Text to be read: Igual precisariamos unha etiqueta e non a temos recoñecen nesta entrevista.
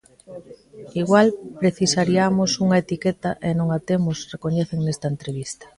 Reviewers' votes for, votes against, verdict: 2, 0, accepted